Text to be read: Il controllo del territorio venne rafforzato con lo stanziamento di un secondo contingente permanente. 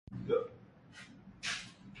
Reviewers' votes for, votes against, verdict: 0, 2, rejected